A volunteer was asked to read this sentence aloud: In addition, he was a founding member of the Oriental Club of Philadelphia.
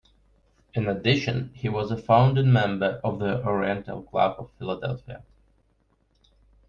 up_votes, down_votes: 2, 1